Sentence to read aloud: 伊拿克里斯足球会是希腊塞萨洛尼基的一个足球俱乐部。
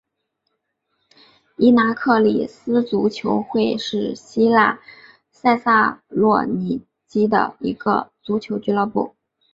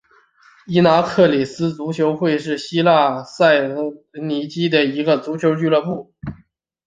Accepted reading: first